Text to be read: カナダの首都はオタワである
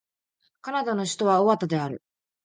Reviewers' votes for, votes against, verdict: 1, 2, rejected